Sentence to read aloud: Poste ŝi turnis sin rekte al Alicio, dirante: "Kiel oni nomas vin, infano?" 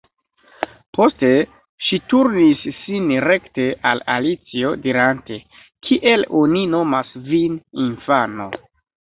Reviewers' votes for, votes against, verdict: 2, 0, accepted